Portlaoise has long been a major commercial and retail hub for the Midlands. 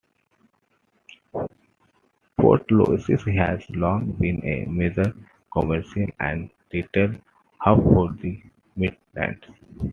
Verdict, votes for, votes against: accepted, 2, 1